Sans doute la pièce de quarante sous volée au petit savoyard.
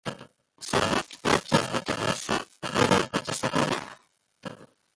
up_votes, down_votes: 0, 2